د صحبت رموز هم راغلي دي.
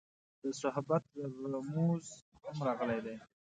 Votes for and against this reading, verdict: 2, 0, accepted